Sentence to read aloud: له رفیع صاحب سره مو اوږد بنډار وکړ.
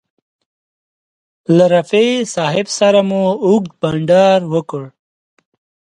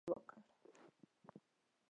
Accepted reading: first